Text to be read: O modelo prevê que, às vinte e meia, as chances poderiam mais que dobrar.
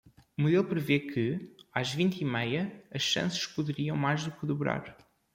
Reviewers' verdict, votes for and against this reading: rejected, 0, 2